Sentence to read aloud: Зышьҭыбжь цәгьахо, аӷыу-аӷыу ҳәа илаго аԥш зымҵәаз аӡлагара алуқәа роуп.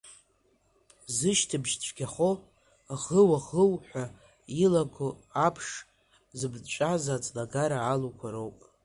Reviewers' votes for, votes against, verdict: 2, 0, accepted